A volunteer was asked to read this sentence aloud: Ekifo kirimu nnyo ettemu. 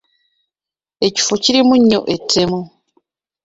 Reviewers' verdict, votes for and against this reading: accepted, 2, 1